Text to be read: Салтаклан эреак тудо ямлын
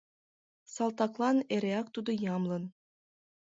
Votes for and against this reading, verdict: 2, 0, accepted